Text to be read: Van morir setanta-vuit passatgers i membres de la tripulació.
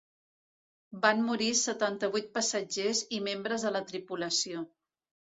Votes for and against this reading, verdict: 2, 0, accepted